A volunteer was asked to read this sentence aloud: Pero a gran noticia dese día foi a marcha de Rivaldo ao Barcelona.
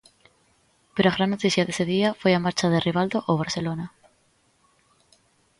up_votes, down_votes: 2, 0